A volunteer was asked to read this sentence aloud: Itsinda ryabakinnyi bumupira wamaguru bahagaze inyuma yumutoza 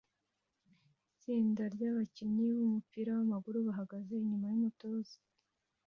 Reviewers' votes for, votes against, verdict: 2, 0, accepted